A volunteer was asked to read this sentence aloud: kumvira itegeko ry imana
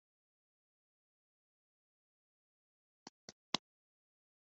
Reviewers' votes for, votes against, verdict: 2, 1, accepted